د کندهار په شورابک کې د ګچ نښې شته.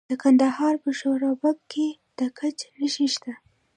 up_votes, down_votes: 0, 2